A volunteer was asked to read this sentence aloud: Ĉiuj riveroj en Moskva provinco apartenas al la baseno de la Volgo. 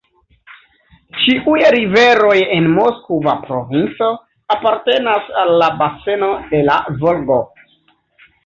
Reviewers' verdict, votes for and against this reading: accepted, 2, 1